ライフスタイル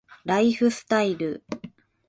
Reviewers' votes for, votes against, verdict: 2, 0, accepted